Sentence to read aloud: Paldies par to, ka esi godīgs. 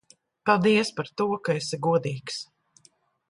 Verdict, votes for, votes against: accepted, 2, 0